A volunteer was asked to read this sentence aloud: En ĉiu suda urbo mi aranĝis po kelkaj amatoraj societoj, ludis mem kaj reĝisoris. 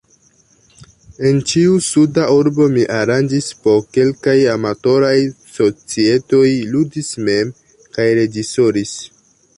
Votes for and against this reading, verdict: 1, 2, rejected